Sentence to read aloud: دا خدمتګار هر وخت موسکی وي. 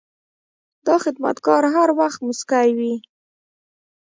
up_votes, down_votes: 0, 2